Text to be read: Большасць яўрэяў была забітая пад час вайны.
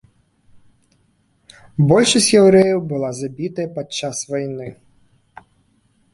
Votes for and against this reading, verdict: 2, 1, accepted